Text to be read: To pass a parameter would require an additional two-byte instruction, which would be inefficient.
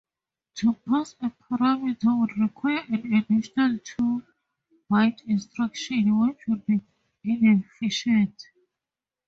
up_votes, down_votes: 0, 2